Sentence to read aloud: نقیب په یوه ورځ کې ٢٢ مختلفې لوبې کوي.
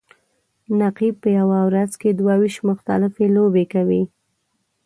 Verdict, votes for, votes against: rejected, 0, 2